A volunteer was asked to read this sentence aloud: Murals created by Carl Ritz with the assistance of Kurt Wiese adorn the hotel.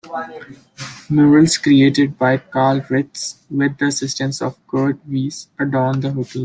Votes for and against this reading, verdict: 0, 2, rejected